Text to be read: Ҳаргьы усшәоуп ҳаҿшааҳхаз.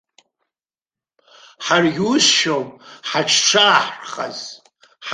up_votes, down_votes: 2, 3